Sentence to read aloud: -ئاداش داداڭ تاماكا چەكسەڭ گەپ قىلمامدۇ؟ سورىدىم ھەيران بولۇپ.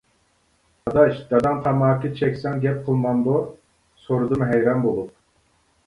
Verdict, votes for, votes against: accepted, 2, 0